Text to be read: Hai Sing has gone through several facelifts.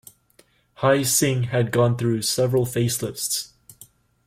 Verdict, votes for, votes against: rejected, 1, 2